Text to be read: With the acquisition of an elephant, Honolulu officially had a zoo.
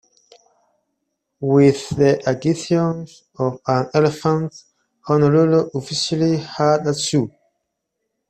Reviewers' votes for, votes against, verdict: 1, 2, rejected